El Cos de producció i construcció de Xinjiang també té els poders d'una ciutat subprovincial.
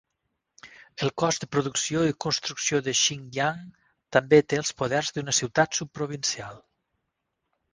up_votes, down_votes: 4, 0